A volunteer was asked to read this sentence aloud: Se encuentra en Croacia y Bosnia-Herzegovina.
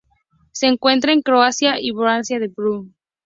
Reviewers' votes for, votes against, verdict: 2, 0, accepted